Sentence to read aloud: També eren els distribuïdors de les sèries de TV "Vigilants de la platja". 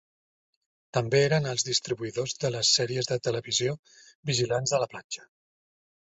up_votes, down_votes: 2, 0